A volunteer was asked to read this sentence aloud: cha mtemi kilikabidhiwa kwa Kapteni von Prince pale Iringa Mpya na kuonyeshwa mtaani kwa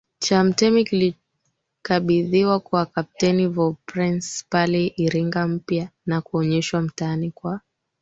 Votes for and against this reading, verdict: 1, 2, rejected